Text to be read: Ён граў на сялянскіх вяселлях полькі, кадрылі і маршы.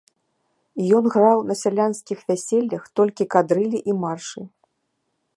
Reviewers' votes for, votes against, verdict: 0, 2, rejected